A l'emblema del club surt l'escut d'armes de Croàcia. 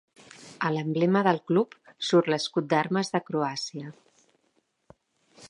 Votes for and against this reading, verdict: 2, 0, accepted